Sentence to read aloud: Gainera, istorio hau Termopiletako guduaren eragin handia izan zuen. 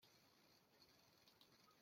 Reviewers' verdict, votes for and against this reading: rejected, 0, 2